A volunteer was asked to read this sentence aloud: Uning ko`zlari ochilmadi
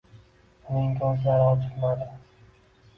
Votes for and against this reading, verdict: 2, 0, accepted